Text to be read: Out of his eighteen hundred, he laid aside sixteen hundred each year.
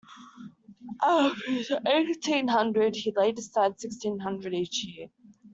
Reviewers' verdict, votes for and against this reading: rejected, 1, 2